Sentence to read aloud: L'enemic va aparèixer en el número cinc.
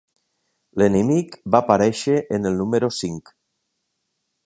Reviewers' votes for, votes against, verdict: 3, 0, accepted